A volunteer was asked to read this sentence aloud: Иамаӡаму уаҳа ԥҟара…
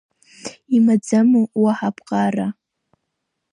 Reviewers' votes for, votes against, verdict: 0, 2, rejected